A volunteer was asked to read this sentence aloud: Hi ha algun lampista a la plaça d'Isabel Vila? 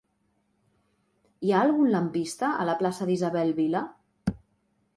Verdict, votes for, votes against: accepted, 3, 0